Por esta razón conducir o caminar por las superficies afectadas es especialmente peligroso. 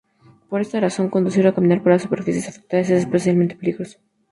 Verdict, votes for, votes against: accepted, 2, 0